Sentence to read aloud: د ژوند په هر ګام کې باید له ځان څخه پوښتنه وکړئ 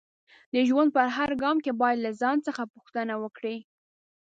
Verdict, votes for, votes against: accepted, 2, 0